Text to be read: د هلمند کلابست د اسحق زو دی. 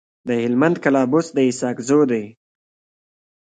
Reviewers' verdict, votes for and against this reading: accepted, 2, 1